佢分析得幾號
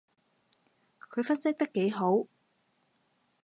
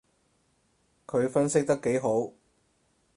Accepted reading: first